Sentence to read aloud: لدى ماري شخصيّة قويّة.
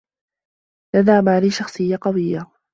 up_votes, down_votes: 2, 0